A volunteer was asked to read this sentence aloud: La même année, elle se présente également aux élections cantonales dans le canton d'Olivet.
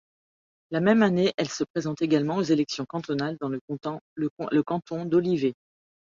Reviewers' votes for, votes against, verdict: 1, 2, rejected